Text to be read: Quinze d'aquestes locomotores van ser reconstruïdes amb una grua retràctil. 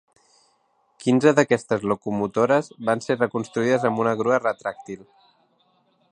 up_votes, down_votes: 3, 0